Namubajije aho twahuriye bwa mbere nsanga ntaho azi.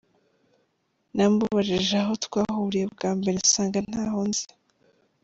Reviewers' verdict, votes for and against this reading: rejected, 1, 2